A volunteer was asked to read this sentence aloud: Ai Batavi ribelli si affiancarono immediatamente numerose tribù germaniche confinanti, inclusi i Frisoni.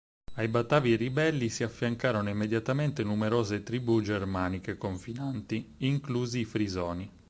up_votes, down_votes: 4, 0